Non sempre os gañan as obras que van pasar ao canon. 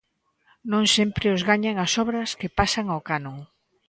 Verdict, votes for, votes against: rejected, 1, 2